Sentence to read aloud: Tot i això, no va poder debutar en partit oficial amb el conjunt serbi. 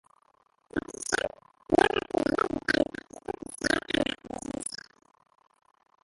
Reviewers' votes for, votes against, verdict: 0, 2, rejected